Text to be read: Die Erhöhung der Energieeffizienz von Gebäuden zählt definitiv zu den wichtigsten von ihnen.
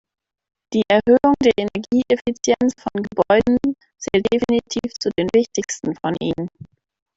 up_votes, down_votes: 2, 0